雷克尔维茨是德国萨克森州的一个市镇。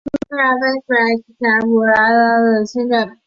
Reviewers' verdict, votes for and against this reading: rejected, 0, 5